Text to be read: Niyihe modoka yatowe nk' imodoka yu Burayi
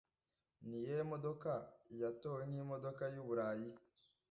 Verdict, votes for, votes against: accepted, 2, 0